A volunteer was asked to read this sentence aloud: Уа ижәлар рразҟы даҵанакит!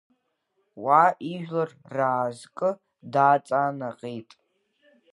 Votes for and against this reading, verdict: 1, 3, rejected